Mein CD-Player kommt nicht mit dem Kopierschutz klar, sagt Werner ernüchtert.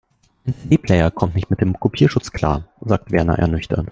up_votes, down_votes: 0, 2